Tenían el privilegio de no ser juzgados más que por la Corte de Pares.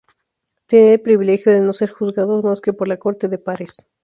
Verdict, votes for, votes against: rejected, 0, 4